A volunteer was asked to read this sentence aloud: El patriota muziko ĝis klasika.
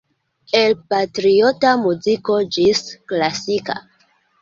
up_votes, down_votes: 2, 0